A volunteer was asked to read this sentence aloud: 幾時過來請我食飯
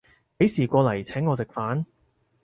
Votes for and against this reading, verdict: 4, 0, accepted